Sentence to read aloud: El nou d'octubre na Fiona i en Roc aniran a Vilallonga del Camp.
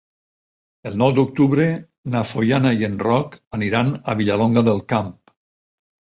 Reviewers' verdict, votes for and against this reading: rejected, 2, 4